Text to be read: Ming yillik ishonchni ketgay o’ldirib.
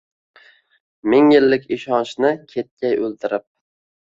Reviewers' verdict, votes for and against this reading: accepted, 2, 0